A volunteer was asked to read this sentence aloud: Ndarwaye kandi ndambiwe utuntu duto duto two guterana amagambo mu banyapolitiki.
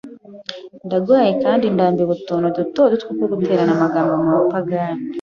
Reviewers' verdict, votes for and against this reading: rejected, 1, 2